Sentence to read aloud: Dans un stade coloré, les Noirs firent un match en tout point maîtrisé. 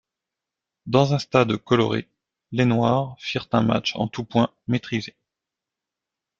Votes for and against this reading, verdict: 2, 1, accepted